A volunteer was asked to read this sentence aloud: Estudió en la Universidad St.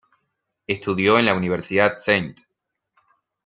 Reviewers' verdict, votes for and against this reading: accepted, 2, 1